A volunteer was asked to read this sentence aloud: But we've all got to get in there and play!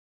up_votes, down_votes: 0, 2